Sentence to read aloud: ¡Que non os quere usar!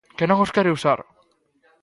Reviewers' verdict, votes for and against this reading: accepted, 2, 0